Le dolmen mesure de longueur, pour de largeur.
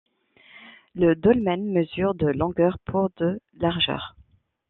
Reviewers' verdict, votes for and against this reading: rejected, 0, 2